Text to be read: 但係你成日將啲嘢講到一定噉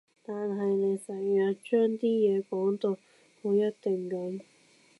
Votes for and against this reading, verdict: 1, 2, rejected